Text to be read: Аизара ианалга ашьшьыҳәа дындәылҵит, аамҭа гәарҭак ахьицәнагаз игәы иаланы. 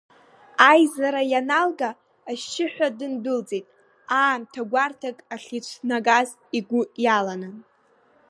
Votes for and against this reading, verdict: 2, 0, accepted